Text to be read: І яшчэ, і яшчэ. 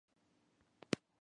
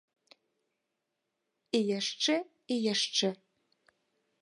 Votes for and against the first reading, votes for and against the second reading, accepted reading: 0, 2, 2, 0, second